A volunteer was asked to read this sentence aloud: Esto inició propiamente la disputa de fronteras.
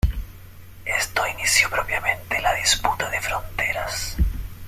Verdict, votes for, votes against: accepted, 2, 0